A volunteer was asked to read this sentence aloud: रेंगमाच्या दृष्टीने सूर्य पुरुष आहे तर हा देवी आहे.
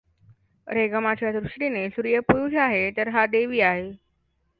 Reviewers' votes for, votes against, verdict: 0, 2, rejected